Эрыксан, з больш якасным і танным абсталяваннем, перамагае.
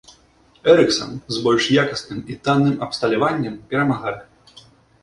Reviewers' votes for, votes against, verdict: 3, 0, accepted